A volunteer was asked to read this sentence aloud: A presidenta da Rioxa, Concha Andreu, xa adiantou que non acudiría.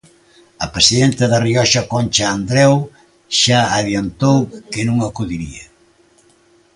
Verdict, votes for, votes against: accepted, 2, 0